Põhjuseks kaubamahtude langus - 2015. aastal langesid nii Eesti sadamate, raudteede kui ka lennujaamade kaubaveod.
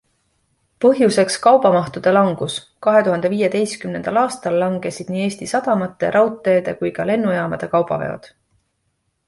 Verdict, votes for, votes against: rejected, 0, 2